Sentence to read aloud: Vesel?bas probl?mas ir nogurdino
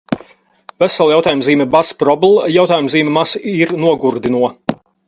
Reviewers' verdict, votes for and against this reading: rejected, 2, 2